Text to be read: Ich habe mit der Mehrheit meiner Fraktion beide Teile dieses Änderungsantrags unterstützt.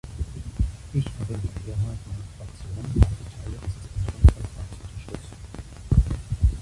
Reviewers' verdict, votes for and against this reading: rejected, 0, 2